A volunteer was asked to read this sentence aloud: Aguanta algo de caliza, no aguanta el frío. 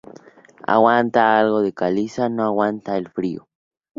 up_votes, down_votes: 2, 0